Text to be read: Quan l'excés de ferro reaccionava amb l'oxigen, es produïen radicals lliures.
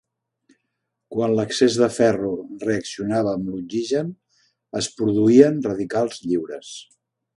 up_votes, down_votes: 2, 0